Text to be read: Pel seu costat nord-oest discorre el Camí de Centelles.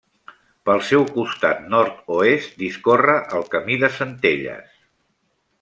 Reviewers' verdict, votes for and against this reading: accepted, 3, 0